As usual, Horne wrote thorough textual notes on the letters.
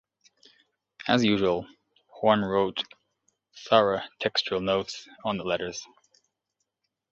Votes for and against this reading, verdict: 1, 2, rejected